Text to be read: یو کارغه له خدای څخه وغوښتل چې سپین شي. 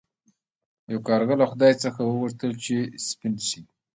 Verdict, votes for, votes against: rejected, 1, 2